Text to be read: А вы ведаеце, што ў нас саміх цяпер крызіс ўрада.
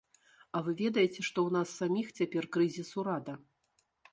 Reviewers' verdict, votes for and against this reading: accepted, 2, 0